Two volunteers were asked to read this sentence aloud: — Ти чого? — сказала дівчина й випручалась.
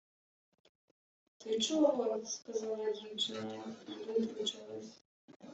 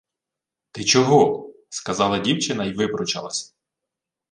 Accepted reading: second